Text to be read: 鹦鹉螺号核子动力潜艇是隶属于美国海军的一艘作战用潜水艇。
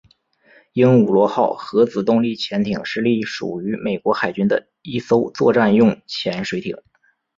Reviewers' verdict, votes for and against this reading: rejected, 1, 2